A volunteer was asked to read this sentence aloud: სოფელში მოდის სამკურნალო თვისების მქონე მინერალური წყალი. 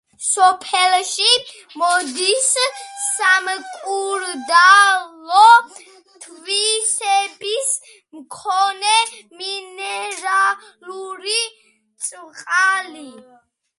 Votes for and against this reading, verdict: 1, 2, rejected